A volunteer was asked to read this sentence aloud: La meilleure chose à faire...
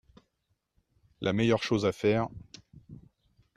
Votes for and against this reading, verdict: 2, 0, accepted